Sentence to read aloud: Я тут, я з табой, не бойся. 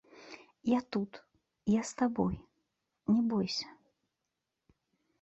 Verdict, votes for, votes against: rejected, 0, 2